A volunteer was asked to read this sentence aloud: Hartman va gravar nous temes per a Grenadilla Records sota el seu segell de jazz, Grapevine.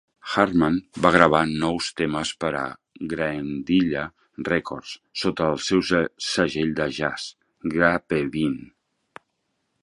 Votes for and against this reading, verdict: 1, 3, rejected